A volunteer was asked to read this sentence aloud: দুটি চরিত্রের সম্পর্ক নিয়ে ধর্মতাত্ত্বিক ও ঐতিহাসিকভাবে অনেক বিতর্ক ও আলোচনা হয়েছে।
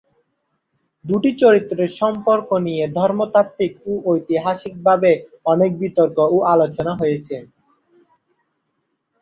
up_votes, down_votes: 2, 0